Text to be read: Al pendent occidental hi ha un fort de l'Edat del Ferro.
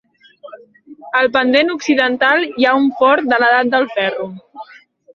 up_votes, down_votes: 3, 0